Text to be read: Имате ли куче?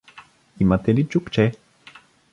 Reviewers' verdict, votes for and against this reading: rejected, 0, 2